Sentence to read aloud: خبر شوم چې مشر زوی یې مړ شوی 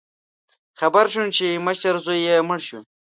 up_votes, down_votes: 0, 2